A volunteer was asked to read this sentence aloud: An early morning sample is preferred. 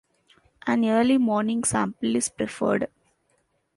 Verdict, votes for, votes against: accepted, 2, 0